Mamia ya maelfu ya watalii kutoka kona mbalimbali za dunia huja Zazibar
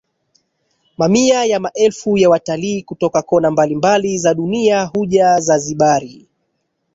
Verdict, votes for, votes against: rejected, 1, 2